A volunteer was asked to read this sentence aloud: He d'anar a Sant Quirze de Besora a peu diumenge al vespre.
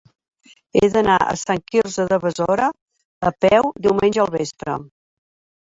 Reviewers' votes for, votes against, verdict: 3, 0, accepted